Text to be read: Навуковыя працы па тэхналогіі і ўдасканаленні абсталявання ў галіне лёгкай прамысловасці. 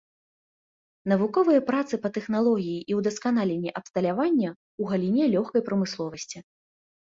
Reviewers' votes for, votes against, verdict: 2, 0, accepted